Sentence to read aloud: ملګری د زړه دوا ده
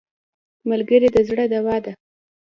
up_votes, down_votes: 2, 0